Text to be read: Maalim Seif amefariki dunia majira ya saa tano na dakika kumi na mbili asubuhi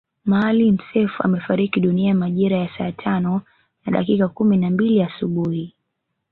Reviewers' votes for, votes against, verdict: 1, 2, rejected